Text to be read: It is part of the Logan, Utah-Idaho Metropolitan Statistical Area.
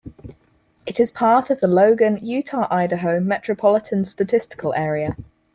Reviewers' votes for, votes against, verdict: 4, 0, accepted